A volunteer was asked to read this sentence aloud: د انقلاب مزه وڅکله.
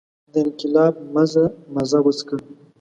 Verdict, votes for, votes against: rejected, 1, 2